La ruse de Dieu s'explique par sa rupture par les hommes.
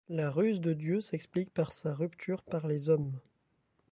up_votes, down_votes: 0, 2